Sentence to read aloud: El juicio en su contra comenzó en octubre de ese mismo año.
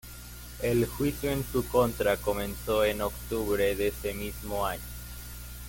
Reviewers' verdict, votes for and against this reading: rejected, 1, 2